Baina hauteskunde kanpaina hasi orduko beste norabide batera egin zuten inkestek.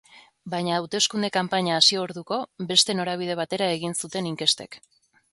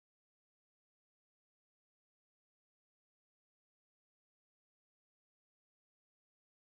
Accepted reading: first